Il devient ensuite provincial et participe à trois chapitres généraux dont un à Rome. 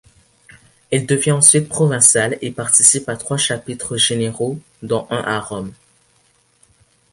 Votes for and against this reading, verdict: 0, 2, rejected